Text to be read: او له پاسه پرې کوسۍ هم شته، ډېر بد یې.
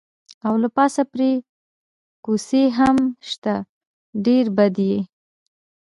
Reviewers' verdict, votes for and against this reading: rejected, 1, 2